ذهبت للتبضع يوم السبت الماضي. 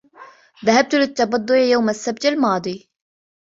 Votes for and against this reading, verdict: 2, 0, accepted